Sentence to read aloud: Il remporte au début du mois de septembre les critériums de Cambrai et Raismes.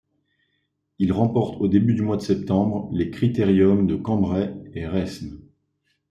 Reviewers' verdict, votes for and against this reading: accepted, 2, 0